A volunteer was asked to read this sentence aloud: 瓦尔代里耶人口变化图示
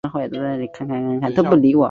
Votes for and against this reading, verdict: 0, 3, rejected